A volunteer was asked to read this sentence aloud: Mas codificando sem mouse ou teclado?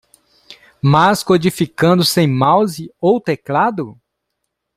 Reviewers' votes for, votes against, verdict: 2, 0, accepted